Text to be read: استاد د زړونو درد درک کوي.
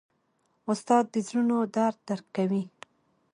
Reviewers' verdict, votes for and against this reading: rejected, 0, 2